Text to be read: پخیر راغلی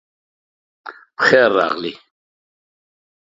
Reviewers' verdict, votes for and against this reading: accepted, 2, 0